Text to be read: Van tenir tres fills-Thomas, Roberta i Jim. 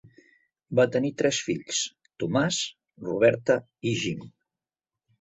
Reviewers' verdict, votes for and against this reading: rejected, 0, 2